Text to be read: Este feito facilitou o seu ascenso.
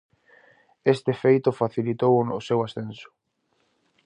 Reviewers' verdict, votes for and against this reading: rejected, 2, 2